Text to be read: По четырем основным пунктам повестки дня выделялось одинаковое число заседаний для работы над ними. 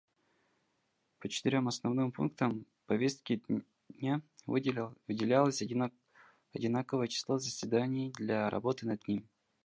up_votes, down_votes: 0, 2